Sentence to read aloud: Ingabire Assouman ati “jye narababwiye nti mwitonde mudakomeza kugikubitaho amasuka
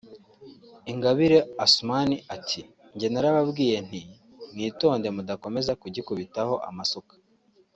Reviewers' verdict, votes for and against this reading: accepted, 2, 0